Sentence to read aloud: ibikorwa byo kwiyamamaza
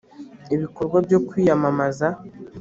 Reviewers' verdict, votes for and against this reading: accepted, 2, 0